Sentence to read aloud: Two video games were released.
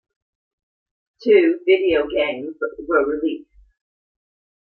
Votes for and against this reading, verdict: 1, 2, rejected